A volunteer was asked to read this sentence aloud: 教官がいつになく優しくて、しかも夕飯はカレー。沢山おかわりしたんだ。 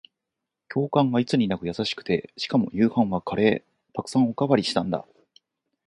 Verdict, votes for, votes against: accepted, 4, 0